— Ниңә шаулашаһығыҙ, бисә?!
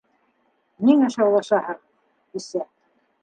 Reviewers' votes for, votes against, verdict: 2, 0, accepted